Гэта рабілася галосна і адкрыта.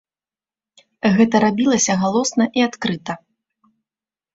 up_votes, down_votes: 2, 0